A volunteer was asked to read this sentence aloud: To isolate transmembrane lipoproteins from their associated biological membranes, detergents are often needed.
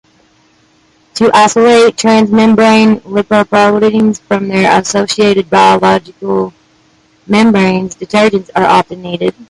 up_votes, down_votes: 2, 0